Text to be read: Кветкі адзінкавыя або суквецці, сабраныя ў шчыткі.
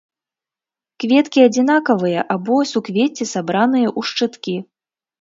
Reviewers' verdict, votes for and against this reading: rejected, 1, 2